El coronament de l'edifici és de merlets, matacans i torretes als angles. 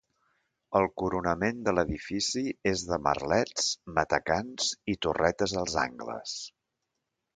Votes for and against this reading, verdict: 2, 0, accepted